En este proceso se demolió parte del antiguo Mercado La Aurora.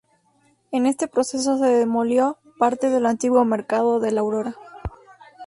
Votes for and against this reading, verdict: 0, 2, rejected